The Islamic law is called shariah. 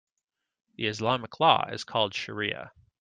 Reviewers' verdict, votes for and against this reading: accepted, 2, 0